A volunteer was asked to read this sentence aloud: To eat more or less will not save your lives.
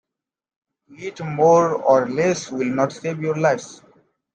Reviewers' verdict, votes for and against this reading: accepted, 2, 0